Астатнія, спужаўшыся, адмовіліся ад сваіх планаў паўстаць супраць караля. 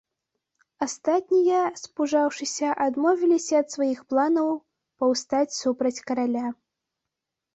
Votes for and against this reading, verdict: 2, 0, accepted